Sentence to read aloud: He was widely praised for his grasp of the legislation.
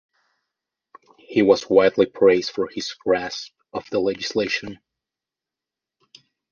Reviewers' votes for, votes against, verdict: 2, 0, accepted